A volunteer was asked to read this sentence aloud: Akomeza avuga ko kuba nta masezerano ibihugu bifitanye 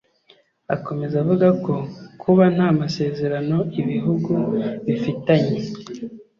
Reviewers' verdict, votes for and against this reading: accepted, 2, 0